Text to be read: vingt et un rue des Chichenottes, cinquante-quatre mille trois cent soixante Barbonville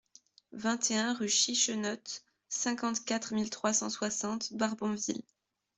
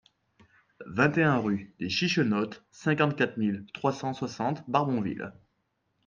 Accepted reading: second